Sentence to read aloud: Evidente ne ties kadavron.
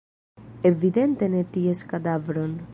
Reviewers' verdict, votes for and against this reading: accepted, 2, 0